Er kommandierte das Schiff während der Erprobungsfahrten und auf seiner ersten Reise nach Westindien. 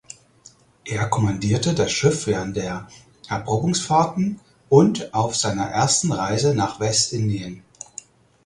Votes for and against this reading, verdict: 4, 0, accepted